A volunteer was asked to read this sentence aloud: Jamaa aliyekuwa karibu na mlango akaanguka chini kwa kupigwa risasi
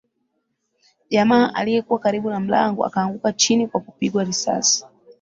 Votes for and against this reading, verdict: 1, 2, rejected